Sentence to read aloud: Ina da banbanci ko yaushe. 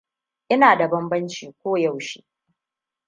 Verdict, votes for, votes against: accepted, 2, 0